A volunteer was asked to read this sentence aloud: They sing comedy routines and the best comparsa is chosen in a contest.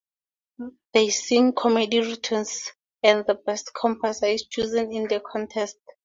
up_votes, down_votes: 2, 0